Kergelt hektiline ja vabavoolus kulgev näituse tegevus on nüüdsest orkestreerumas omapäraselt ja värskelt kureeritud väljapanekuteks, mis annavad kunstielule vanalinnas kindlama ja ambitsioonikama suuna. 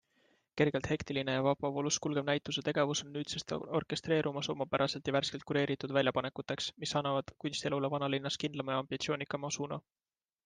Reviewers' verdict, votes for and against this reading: accepted, 2, 0